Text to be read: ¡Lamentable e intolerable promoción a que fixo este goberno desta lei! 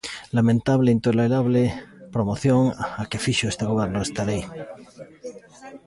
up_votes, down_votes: 1, 2